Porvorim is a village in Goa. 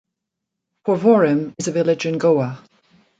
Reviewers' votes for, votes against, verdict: 2, 0, accepted